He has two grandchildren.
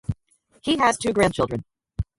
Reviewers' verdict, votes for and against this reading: accepted, 2, 0